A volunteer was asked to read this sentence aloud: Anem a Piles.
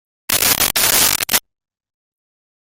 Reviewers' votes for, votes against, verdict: 0, 2, rejected